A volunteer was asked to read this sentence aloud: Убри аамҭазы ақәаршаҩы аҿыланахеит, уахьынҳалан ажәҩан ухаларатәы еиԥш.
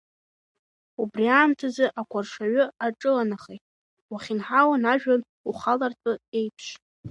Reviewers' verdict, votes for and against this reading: rejected, 1, 2